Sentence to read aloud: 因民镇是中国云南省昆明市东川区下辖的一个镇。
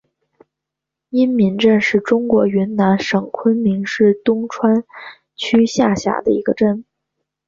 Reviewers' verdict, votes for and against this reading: accepted, 2, 0